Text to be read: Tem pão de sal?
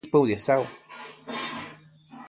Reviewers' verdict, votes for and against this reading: rejected, 0, 2